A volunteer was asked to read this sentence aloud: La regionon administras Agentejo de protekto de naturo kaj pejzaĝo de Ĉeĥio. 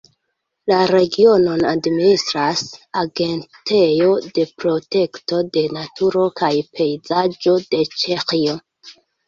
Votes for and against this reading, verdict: 2, 0, accepted